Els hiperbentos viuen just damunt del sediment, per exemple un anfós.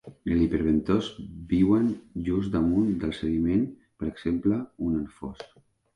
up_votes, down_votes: 2, 1